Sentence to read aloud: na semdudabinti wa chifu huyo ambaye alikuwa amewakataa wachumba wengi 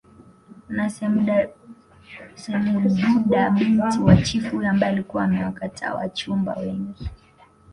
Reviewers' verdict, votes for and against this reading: rejected, 0, 3